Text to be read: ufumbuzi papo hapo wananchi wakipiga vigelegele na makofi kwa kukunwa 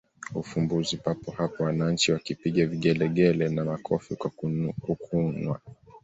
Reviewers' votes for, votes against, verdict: 1, 2, rejected